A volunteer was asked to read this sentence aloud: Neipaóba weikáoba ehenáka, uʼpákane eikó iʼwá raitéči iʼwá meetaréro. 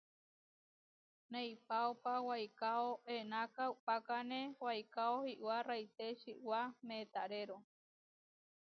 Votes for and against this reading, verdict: 0, 2, rejected